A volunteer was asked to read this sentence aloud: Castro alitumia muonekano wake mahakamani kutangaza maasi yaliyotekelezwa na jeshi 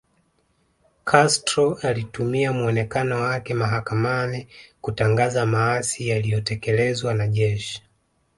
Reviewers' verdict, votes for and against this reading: accepted, 2, 0